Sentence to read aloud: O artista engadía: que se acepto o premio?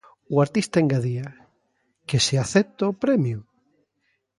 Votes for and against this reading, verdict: 2, 0, accepted